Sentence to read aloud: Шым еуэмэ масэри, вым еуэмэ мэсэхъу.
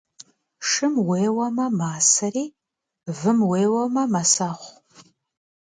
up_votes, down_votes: 1, 2